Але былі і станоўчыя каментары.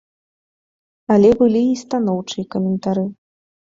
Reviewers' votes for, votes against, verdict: 2, 0, accepted